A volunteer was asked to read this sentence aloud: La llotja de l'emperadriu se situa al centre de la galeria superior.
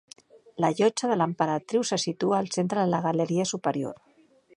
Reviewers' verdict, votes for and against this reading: accepted, 3, 1